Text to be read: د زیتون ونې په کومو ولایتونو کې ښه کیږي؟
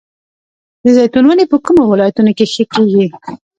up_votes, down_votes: 1, 2